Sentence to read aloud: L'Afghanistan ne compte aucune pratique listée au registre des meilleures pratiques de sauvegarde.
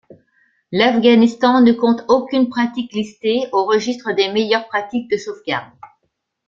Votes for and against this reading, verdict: 2, 0, accepted